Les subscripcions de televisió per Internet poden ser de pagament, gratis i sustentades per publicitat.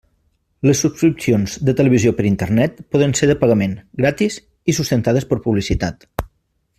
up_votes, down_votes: 3, 0